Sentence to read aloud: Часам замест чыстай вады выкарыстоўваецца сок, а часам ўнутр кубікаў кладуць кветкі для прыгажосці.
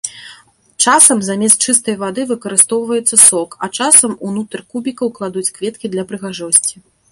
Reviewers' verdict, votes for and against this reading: accepted, 2, 0